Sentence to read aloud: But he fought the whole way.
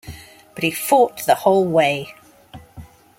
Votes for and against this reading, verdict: 2, 0, accepted